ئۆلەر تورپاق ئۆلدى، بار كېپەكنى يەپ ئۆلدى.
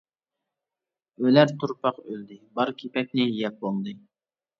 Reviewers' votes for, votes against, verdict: 0, 2, rejected